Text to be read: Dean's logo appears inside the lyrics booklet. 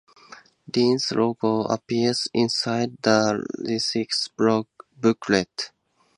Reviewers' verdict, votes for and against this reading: rejected, 0, 2